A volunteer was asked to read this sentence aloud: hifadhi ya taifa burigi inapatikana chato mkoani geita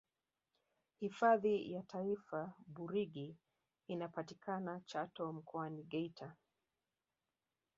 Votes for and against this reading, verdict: 1, 2, rejected